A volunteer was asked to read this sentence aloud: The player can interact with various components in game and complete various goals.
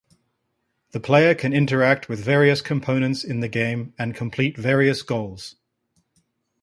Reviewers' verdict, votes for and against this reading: rejected, 1, 2